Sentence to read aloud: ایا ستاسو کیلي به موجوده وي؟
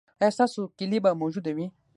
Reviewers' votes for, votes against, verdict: 3, 6, rejected